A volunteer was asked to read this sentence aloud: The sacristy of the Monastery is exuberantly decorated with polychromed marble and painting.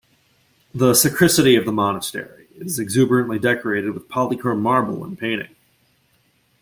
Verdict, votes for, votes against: rejected, 1, 2